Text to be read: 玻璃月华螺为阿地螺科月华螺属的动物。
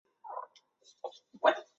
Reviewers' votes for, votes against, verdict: 1, 2, rejected